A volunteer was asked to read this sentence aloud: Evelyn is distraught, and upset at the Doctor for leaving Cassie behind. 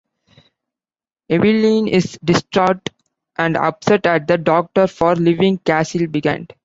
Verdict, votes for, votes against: rejected, 1, 2